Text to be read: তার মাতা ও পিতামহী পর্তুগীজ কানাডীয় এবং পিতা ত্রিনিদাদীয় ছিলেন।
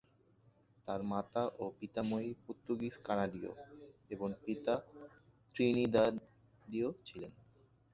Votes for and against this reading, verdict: 1, 2, rejected